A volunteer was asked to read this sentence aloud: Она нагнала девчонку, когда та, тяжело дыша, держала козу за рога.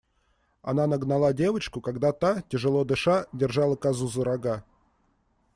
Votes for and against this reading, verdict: 1, 2, rejected